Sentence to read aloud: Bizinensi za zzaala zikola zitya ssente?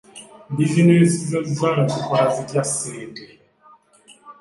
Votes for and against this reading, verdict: 2, 0, accepted